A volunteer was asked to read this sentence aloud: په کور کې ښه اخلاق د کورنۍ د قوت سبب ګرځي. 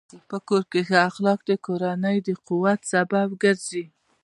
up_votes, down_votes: 2, 0